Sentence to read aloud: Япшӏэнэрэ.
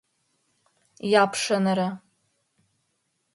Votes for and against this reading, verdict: 3, 4, rejected